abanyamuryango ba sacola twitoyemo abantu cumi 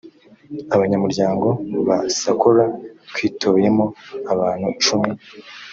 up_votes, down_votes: 3, 0